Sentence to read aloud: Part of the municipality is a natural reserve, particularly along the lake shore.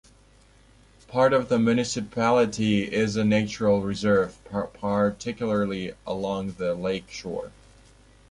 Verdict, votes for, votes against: rejected, 0, 2